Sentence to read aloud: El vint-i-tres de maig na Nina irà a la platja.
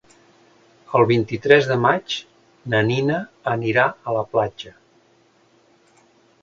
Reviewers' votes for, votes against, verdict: 0, 2, rejected